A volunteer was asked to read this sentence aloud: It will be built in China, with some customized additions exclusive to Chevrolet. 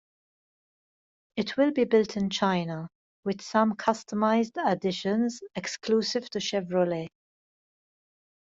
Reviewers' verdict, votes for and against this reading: accepted, 2, 0